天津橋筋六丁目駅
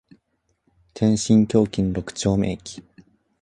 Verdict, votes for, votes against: accepted, 2, 0